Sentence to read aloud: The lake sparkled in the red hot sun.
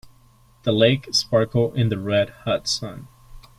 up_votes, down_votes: 1, 2